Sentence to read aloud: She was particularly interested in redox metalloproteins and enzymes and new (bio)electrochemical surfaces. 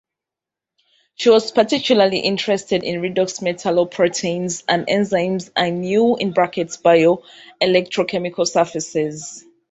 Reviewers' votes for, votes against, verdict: 0, 2, rejected